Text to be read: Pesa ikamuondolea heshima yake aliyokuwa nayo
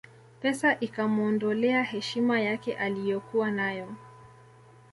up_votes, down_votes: 0, 2